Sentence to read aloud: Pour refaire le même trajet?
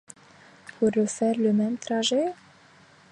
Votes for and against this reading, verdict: 2, 1, accepted